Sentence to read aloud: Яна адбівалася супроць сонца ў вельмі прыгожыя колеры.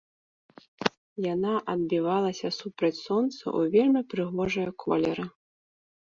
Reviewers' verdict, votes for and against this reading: rejected, 0, 2